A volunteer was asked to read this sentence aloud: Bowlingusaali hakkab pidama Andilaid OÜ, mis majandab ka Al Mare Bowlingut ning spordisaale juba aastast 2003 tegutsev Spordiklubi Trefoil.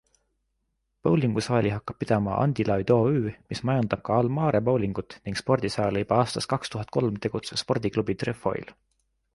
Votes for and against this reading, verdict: 0, 2, rejected